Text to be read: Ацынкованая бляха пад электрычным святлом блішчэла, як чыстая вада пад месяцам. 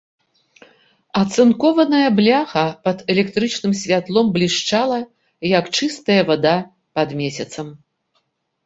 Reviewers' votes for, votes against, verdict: 1, 2, rejected